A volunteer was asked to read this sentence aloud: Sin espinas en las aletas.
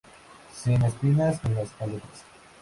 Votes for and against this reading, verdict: 2, 2, rejected